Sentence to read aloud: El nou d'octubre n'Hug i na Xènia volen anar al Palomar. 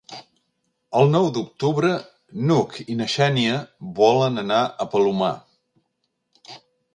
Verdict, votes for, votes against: rejected, 0, 2